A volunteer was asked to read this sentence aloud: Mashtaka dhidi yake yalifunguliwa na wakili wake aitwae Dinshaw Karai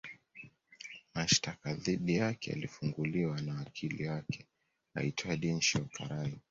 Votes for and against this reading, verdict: 1, 2, rejected